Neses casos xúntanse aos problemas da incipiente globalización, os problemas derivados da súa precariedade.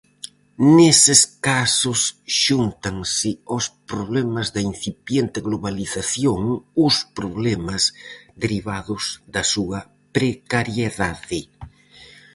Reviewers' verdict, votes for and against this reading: accepted, 4, 0